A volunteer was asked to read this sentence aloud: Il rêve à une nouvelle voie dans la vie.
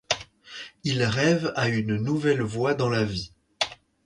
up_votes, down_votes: 2, 4